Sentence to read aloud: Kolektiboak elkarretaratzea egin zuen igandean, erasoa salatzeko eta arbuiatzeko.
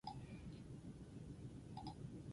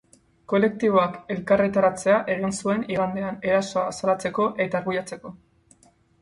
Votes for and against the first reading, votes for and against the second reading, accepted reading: 0, 6, 4, 0, second